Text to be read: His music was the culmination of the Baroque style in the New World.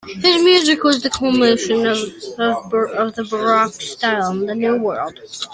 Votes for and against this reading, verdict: 0, 2, rejected